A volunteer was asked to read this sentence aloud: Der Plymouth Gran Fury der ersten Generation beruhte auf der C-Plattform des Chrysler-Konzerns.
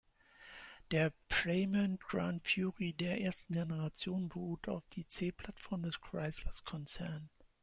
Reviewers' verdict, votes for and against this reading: rejected, 1, 2